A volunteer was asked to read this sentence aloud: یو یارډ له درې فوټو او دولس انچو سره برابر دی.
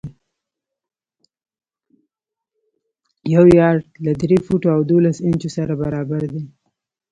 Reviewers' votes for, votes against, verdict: 0, 2, rejected